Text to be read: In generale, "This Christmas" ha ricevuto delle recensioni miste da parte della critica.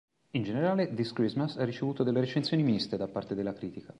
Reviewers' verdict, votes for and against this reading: accepted, 2, 0